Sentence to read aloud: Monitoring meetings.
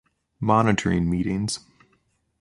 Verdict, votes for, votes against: accepted, 2, 0